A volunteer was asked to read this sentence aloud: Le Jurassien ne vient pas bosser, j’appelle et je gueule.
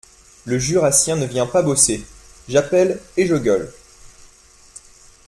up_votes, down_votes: 2, 0